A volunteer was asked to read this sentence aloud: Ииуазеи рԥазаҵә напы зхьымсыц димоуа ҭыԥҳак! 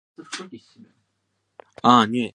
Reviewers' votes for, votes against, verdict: 0, 2, rejected